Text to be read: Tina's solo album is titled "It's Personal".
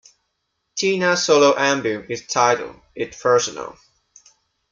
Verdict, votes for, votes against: rejected, 1, 2